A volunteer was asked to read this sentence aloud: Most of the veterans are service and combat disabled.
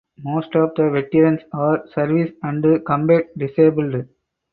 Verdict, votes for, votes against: rejected, 2, 4